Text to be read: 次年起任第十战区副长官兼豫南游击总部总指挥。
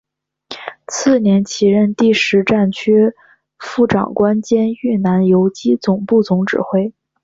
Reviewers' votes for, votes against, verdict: 5, 0, accepted